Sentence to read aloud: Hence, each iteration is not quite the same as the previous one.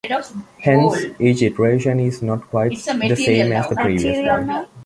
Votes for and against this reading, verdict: 1, 2, rejected